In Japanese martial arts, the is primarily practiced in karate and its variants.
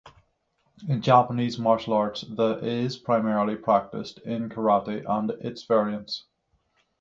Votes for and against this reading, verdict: 6, 0, accepted